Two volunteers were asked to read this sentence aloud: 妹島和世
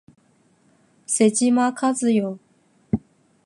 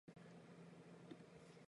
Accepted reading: first